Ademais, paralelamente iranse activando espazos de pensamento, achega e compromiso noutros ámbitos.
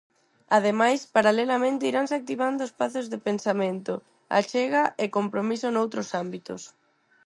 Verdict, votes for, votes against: accepted, 6, 0